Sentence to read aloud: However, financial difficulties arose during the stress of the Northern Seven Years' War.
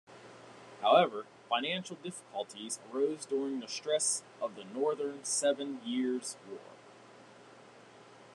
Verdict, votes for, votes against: accepted, 2, 0